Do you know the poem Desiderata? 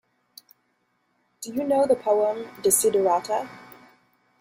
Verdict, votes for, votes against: accepted, 2, 0